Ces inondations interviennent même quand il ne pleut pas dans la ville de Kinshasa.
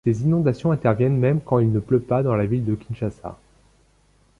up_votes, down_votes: 2, 0